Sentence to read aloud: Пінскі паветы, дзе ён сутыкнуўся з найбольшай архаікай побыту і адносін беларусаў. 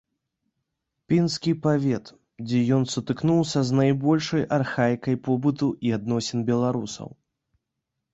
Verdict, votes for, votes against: rejected, 0, 2